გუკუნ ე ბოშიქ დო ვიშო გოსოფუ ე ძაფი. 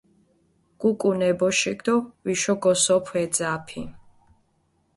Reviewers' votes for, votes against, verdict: 1, 2, rejected